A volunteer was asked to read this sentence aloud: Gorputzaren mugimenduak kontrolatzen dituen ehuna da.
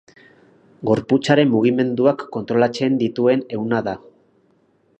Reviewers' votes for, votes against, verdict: 6, 0, accepted